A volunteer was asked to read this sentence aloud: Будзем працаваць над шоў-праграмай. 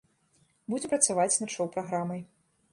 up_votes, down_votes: 0, 2